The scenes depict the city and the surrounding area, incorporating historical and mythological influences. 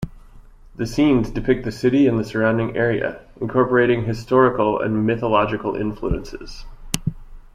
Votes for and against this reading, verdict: 2, 0, accepted